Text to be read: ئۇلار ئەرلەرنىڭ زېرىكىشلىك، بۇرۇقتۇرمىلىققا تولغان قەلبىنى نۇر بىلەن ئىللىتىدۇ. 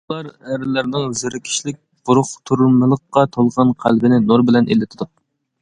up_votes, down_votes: 2, 0